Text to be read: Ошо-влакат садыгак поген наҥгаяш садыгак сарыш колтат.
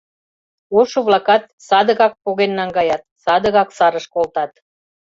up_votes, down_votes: 1, 2